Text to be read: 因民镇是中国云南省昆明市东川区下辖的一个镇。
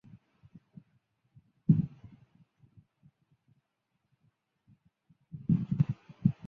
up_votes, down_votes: 1, 2